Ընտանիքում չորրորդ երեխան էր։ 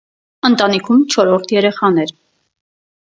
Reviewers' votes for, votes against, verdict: 4, 0, accepted